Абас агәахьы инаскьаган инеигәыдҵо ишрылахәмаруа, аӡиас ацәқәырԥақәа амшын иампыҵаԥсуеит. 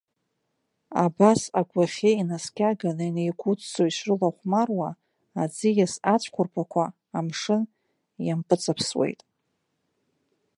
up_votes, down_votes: 1, 2